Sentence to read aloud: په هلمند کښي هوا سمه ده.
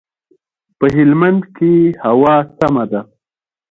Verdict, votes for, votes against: accepted, 2, 0